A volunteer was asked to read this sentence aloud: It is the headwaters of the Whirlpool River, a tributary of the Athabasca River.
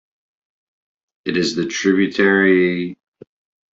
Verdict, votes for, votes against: rejected, 0, 2